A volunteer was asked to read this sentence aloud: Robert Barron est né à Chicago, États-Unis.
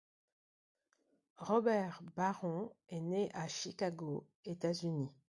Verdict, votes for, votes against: accepted, 2, 0